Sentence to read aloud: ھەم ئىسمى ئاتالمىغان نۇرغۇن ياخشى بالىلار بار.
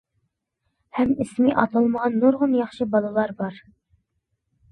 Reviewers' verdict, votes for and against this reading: accepted, 2, 0